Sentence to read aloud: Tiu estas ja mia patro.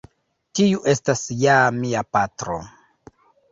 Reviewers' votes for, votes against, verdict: 1, 2, rejected